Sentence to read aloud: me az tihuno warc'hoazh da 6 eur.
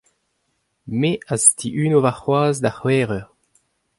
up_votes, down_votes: 0, 2